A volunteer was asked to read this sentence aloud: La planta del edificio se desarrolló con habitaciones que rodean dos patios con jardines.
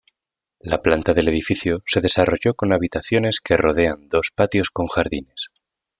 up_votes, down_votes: 2, 0